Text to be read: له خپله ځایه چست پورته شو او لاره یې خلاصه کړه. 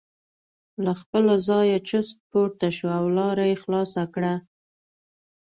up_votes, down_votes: 2, 0